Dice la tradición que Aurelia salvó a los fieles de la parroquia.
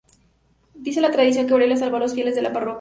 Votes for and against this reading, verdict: 2, 2, rejected